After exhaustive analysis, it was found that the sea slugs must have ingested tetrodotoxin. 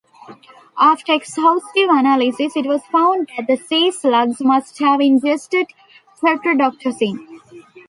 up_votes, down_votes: 1, 2